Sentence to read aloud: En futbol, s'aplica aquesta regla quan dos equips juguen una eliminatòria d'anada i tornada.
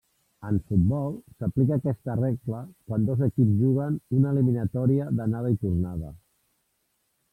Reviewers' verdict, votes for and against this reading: rejected, 1, 2